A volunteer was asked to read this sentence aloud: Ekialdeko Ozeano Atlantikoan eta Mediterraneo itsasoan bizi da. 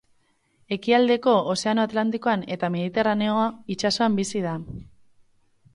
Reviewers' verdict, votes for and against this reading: rejected, 2, 2